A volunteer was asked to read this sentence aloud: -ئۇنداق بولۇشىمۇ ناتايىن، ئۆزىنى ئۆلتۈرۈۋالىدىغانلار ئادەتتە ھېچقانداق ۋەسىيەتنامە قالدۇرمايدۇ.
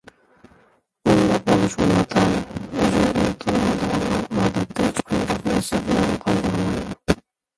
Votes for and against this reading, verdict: 0, 2, rejected